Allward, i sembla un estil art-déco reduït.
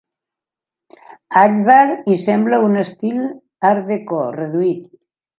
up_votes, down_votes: 1, 2